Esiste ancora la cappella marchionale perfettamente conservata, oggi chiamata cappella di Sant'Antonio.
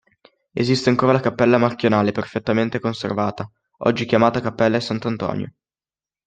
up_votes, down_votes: 0, 2